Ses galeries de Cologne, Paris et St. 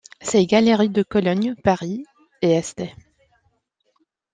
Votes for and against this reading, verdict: 2, 0, accepted